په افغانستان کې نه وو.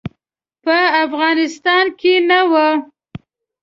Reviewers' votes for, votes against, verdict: 2, 0, accepted